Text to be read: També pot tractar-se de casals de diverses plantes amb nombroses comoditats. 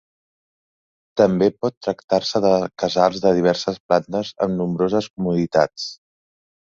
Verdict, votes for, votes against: accepted, 2, 0